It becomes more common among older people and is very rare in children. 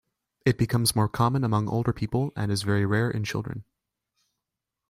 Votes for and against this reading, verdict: 2, 0, accepted